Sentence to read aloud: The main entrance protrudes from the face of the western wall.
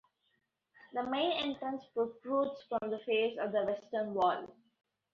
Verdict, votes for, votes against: accepted, 2, 0